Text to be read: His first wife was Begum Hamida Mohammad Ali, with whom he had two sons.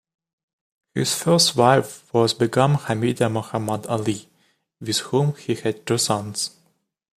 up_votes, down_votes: 2, 0